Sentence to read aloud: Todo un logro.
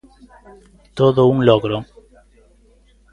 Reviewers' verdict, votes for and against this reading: accepted, 2, 0